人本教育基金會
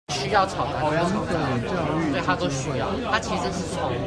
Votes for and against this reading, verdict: 1, 2, rejected